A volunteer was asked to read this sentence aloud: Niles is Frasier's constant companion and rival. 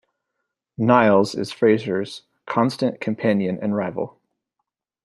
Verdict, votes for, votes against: accepted, 2, 0